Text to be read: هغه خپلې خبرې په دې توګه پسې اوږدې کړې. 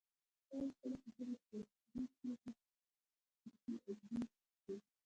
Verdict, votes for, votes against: rejected, 0, 2